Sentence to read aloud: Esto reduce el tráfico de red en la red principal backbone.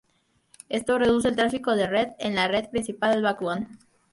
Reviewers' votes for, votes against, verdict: 0, 2, rejected